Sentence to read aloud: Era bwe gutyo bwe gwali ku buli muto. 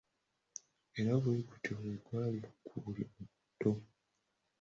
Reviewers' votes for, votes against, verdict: 1, 2, rejected